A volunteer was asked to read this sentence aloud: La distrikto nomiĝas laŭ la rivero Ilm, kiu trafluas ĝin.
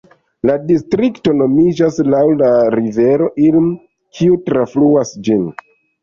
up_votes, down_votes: 1, 2